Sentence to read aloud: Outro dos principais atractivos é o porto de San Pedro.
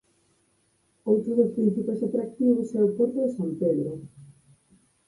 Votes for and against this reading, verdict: 4, 0, accepted